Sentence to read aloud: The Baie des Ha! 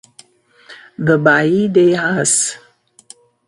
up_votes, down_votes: 0, 2